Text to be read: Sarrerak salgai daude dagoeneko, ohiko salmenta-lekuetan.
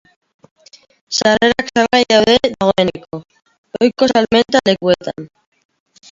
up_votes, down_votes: 1, 2